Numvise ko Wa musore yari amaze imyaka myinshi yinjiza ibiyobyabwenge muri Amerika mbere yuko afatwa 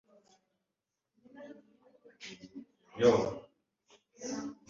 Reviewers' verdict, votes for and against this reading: rejected, 1, 2